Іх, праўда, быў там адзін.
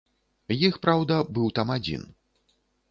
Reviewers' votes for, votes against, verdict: 2, 0, accepted